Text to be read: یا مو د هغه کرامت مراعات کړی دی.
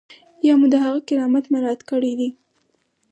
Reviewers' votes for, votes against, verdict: 4, 0, accepted